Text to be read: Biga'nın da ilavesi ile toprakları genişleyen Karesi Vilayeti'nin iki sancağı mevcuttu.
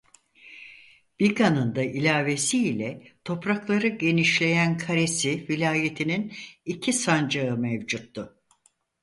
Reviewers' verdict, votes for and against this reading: accepted, 4, 0